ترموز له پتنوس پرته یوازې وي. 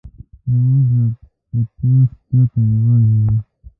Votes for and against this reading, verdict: 0, 2, rejected